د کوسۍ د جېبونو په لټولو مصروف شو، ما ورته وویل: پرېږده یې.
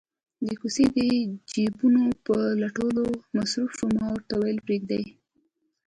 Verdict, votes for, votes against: accepted, 2, 0